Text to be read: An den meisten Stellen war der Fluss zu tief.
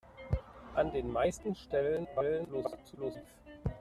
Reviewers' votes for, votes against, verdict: 0, 2, rejected